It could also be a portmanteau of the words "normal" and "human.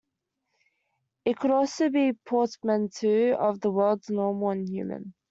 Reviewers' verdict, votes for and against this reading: rejected, 0, 2